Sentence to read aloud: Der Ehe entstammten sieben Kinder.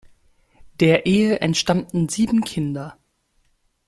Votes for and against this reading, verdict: 2, 0, accepted